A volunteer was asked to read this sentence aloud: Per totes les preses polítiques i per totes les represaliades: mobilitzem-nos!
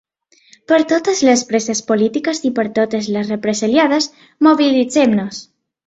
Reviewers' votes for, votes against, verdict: 4, 0, accepted